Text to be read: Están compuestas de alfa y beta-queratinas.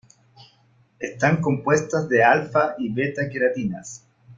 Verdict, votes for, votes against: accepted, 2, 0